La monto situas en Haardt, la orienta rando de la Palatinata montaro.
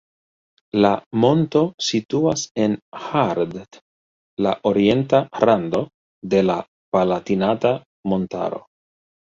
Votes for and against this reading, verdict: 2, 1, accepted